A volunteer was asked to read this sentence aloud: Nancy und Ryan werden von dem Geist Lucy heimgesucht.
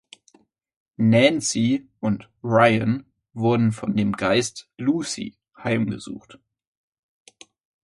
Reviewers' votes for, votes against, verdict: 1, 2, rejected